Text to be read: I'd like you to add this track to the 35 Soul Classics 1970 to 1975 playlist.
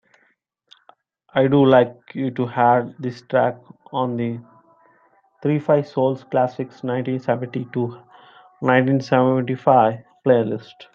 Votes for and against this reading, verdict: 0, 2, rejected